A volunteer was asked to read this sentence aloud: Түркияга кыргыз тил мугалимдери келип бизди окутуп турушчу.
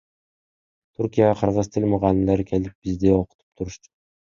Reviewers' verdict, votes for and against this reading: accepted, 2, 1